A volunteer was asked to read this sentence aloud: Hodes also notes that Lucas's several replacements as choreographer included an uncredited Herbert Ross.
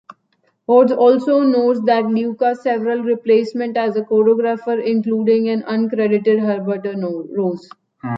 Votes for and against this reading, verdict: 0, 2, rejected